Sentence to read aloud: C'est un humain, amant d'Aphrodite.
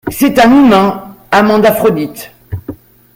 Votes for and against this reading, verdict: 2, 0, accepted